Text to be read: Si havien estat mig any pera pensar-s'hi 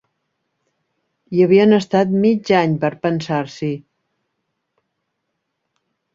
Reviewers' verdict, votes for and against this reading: rejected, 0, 4